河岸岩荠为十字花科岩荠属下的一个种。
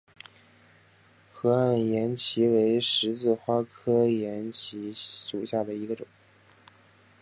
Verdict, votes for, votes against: accepted, 6, 0